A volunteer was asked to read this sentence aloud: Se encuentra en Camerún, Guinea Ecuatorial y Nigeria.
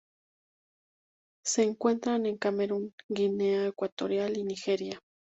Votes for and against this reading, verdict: 0, 2, rejected